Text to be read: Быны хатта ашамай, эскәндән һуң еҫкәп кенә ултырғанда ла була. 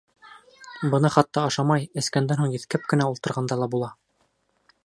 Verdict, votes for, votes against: accepted, 2, 0